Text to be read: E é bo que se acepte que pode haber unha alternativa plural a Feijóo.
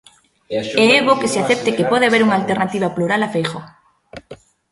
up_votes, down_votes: 1, 2